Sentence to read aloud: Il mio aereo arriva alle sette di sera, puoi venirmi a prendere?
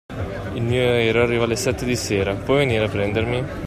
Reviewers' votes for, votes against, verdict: 0, 2, rejected